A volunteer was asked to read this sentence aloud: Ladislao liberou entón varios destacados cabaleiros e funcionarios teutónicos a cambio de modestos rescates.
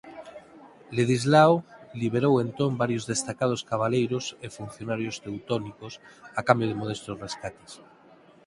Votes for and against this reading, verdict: 0, 4, rejected